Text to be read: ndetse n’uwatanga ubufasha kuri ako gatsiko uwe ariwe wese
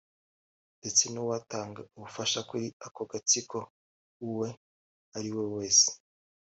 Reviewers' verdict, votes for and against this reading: accepted, 2, 1